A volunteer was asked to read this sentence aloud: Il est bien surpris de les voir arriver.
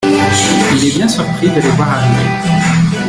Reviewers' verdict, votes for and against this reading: accepted, 2, 1